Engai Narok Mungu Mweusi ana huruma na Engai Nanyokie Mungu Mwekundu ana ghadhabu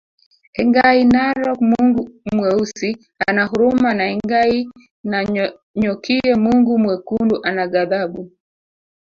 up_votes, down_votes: 1, 2